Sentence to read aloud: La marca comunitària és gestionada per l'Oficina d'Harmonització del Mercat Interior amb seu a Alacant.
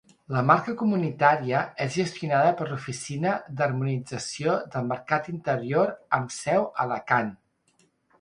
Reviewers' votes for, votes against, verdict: 2, 0, accepted